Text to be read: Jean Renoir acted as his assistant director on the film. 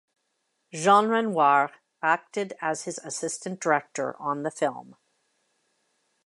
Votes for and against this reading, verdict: 0, 2, rejected